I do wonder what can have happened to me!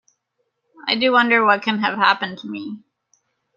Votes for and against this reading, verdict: 2, 0, accepted